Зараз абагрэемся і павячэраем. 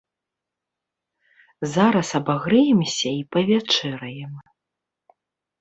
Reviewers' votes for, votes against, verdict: 2, 0, accepted